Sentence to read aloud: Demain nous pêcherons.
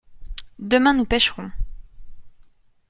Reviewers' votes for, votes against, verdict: 2, 0, accepted